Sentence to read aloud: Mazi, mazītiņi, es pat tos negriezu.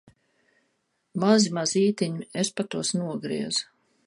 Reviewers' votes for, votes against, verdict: 1, 2, rejected